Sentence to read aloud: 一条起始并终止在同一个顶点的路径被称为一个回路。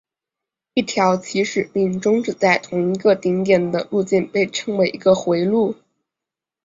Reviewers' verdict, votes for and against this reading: accepted, 3, 0